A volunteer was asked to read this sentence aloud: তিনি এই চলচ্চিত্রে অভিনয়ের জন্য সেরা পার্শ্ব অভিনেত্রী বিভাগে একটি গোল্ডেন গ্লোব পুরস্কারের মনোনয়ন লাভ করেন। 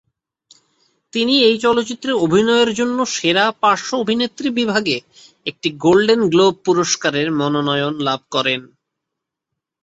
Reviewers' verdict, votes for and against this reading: accepted, 2, 0